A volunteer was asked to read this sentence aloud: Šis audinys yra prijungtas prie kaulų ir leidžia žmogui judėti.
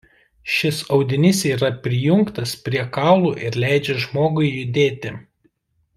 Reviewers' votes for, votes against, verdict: 2, 0, accepted